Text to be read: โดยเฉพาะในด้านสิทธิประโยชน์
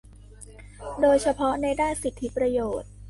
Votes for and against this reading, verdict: 2, 1, accepted